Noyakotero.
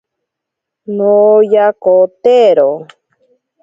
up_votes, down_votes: 2, 0